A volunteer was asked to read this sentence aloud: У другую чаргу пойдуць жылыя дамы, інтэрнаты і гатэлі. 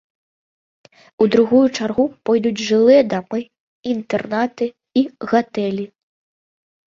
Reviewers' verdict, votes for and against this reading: accepted, 2, 0